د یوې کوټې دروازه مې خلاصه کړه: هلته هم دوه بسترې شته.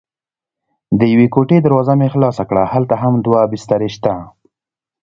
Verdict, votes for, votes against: accepted, 2, 0